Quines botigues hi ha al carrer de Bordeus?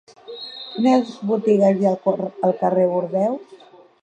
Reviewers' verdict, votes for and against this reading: rejected, 2, 4